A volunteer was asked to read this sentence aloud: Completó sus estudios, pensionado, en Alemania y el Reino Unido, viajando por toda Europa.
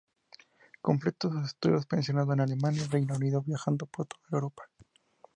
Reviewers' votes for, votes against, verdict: 2, 0, accepted